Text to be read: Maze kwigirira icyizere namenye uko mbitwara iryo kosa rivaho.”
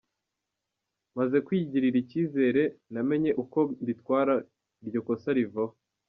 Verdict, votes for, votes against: rejected, 1, 2